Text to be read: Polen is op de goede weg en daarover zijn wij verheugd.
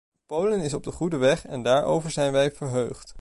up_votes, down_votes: 2, 0